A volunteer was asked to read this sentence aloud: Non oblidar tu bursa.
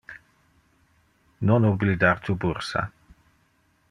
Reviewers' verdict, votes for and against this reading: accepted, 2, 0